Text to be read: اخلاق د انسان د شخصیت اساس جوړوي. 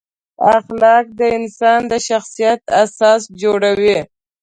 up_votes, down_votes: 2, 0